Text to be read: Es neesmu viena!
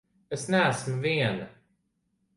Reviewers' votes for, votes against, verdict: 2, 0, accepted